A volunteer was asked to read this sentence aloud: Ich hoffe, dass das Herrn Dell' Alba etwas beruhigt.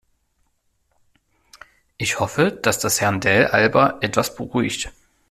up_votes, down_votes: 2, 0